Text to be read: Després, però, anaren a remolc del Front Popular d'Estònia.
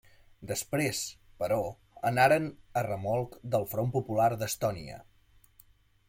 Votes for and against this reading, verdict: 3, 0, accepted